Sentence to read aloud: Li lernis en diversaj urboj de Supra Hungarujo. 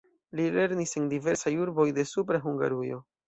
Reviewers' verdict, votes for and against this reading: accepted, 2, 0